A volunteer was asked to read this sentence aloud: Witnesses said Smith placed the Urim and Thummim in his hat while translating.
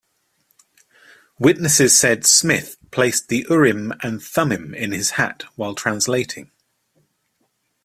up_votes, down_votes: 2, 0